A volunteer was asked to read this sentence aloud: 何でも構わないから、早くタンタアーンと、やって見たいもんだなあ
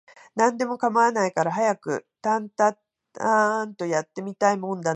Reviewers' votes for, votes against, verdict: 0, 2, rejected